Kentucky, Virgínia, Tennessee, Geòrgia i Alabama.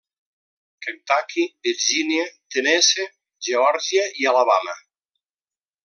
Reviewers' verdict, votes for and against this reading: rejected, 0, 2